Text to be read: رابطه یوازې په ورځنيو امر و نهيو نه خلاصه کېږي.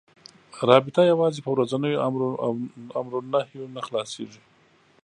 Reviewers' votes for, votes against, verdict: 3, 0, accepted